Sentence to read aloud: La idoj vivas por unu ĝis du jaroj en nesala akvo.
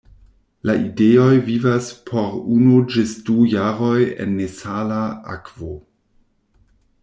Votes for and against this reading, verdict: 0, 2, rejected